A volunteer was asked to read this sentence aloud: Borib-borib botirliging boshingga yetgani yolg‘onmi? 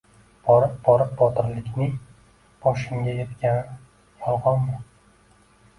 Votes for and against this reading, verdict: 0, 2, rejected